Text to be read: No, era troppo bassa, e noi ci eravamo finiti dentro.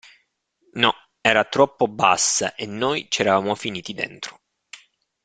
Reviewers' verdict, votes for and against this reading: accepted, 2, 0